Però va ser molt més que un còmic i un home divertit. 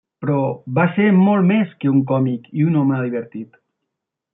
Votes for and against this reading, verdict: 3, 0, accepted